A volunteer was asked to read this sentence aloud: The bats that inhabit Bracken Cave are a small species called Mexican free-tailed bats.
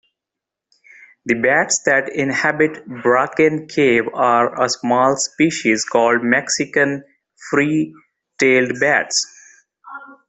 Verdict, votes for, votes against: accepted, 2, 0